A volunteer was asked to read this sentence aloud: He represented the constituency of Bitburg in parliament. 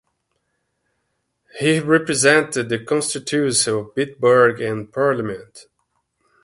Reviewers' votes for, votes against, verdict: 1, 2, rejected